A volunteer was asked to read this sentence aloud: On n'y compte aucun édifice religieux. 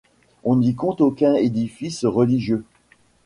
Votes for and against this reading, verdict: 1, 2, rejected